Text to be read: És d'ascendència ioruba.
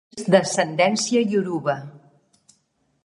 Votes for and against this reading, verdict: 0, 2, rejected